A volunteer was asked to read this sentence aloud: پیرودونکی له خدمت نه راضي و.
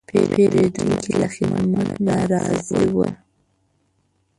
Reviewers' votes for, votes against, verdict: 1, 2, rejected